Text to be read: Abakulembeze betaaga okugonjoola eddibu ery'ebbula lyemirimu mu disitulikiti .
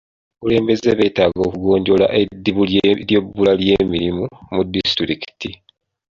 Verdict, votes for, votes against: accepted, 2, 0